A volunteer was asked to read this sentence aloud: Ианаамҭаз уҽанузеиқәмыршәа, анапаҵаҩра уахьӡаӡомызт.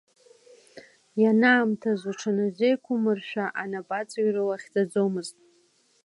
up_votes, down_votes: 2, 0